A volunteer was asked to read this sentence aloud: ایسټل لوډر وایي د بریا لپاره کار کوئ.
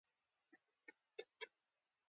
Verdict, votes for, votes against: accepted, 2, 1